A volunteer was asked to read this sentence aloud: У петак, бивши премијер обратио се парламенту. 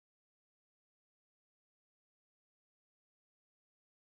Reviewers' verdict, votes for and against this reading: rejected, 0, 2